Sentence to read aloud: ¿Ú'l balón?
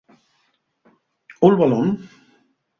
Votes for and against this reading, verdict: 2, 0, accepted